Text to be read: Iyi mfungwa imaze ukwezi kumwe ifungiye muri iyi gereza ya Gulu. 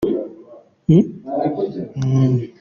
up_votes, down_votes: 0, 2